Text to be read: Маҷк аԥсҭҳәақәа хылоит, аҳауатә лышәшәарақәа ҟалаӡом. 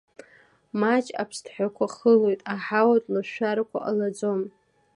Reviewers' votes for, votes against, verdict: 2, 1, accepted